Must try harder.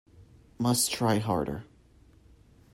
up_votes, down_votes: 2, 0